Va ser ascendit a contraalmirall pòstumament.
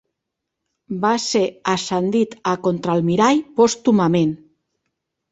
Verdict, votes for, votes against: accepted, 2, 0